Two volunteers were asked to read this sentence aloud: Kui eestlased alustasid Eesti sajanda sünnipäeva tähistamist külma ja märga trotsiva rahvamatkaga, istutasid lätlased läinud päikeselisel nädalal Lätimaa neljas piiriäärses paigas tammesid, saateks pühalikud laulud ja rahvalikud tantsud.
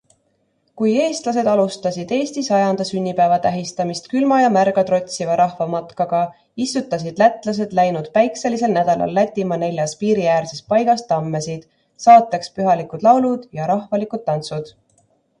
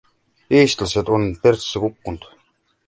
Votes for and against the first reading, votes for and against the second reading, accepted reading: 2, 1, 0, 2, first